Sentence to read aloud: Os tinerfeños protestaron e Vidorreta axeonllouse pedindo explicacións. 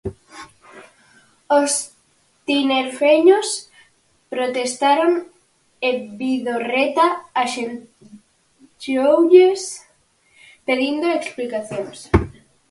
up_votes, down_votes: 0, 4